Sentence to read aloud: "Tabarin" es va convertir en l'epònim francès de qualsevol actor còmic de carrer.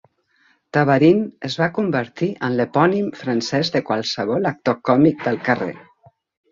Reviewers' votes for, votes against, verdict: 1, 2, rejected